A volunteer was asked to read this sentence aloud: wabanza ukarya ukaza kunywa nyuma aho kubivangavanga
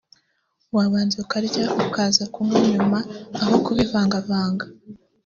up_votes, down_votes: 2, 1